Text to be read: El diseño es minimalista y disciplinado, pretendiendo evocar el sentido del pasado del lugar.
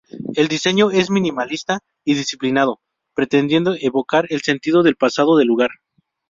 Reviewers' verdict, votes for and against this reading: rejected, 0, 2